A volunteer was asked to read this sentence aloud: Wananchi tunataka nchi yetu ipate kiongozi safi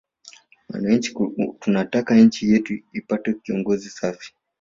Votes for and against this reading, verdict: 2, 1, accepted